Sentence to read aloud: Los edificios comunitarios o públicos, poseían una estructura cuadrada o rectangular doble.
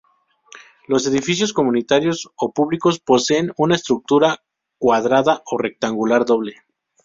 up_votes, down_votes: 0, 2